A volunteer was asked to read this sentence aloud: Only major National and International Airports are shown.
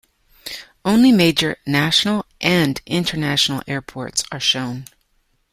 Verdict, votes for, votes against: accepted, 2, 0